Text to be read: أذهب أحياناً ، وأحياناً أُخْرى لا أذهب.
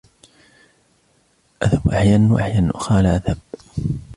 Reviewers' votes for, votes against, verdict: 2, 0, accepted